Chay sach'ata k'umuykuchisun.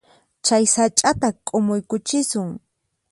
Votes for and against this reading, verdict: 4, 0, accepted